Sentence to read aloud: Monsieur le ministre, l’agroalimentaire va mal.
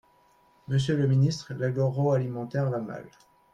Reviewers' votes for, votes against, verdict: 0, 3, rejected